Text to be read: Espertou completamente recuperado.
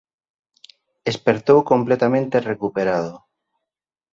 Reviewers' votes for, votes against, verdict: 2, 0, accepted